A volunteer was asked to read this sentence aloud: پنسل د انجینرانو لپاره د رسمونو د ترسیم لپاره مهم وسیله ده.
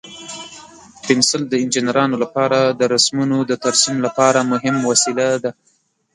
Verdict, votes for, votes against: accepted, 2, 0